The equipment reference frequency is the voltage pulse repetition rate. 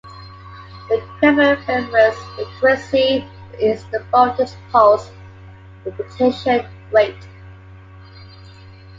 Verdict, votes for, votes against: rejected, 1, 2